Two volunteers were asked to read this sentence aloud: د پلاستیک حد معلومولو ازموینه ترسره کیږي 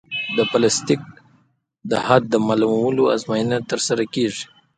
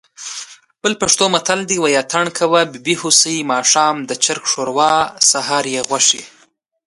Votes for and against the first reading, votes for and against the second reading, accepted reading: 2, 1, 1, 2, first